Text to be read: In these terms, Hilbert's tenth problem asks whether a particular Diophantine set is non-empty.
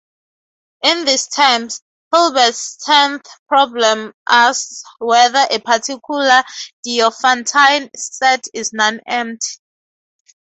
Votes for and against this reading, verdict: 2, 0, accepted